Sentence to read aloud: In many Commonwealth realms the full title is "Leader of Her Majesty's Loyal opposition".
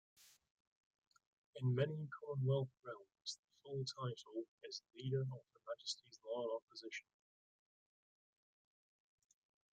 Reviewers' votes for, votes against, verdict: 0, 2, rejected